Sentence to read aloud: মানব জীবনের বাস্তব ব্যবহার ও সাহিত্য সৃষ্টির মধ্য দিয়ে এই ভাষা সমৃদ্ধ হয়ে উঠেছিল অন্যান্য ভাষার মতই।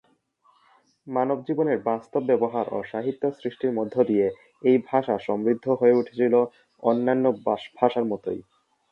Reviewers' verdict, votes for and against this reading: rejected, 0, 2